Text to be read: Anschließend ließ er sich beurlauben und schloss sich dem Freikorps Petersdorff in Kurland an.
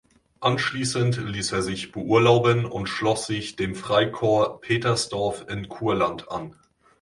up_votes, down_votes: 2, 0